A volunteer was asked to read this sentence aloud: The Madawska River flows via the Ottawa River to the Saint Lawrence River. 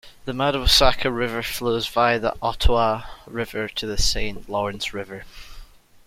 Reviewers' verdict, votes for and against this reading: rejected, 1, 2